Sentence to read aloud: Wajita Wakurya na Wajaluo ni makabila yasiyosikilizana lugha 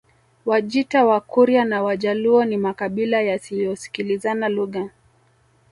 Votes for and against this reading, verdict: 1, 2, rejected